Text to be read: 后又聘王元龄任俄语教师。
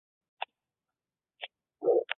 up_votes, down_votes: 0, 2